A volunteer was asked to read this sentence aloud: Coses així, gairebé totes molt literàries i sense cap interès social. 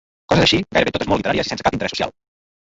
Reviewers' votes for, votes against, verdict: 0, 2, rejected